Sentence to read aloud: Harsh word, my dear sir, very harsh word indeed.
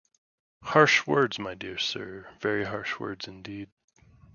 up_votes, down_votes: 0, 2